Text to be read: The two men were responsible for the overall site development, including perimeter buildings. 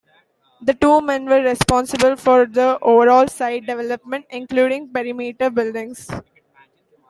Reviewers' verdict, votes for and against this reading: rejected, 1, 2